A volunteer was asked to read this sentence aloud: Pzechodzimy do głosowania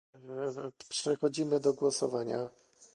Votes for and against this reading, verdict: 1, 2, rejected